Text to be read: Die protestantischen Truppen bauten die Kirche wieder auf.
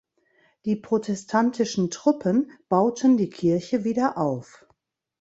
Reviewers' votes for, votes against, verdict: 2, 0, accepted